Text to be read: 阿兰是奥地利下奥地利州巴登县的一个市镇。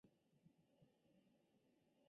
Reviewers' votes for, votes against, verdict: 2, 4, rejected